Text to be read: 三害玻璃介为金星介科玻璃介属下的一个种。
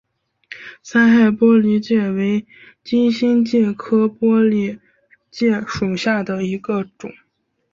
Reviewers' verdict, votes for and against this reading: rejected, 0, 2